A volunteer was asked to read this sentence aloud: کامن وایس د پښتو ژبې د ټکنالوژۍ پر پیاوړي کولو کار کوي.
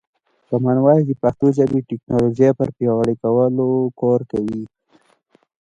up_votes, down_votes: 0, 2